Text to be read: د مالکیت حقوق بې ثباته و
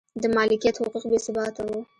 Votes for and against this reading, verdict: 2, 0, accepted